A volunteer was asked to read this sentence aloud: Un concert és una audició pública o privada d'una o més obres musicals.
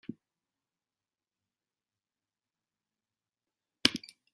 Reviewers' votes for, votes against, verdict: 0, 2, rejected